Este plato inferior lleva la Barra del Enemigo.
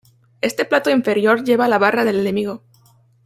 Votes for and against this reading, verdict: 2, 0, accepted